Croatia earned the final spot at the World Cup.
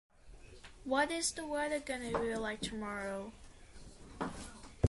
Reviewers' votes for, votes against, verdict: 0, 2, rejected